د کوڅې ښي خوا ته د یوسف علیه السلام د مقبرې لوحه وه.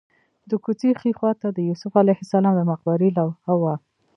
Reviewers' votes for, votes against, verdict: 1, 2, rejected